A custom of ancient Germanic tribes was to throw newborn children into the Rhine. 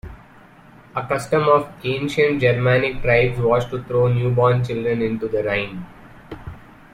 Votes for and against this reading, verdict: 2, 0, accepted